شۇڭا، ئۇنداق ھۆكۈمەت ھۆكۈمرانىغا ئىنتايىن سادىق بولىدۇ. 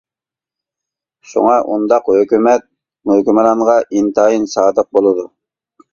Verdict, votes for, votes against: rejected, 1, 2